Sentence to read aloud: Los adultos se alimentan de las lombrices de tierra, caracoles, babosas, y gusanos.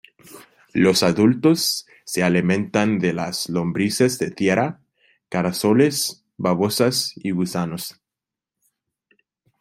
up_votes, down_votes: 0, 2